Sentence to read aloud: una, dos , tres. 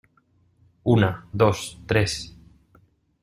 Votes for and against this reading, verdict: 2, 0, accepted